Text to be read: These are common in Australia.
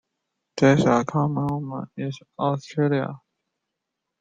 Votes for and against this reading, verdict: 0, 2, rejected